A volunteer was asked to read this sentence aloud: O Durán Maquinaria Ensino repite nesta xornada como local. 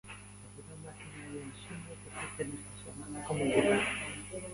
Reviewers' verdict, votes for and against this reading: rejected, 0, 2